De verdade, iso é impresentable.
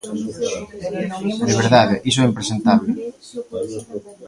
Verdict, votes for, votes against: accepted, 2, 1